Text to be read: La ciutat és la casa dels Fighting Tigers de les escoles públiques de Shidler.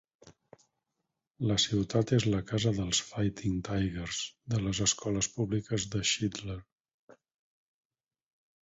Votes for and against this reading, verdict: 4, 0, accepted